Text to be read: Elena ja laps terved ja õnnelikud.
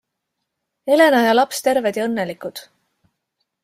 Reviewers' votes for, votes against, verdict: 2, 0, accepted